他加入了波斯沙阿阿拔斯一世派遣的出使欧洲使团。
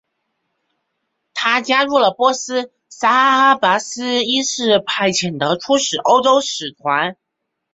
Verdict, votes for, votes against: accepted, 3, 2